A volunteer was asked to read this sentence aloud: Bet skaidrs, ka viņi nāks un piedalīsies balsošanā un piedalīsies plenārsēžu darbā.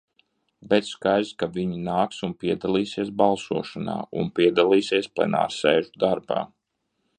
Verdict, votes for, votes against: accepted, 2, 0